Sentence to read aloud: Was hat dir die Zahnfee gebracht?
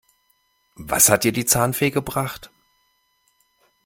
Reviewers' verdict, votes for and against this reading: accepted, 2, 0